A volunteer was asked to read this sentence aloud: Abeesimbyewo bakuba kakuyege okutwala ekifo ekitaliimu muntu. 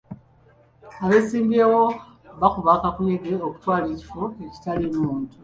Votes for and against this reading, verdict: 2, 0, accepted